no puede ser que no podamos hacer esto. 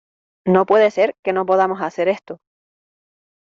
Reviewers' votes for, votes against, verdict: 2, 0, accepted